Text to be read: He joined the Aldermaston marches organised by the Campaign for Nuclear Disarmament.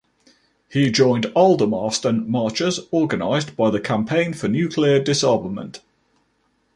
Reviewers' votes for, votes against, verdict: 2, 0, accepted